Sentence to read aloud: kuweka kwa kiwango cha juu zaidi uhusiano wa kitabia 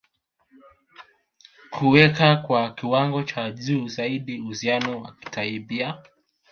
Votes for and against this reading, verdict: 1, 2, rejected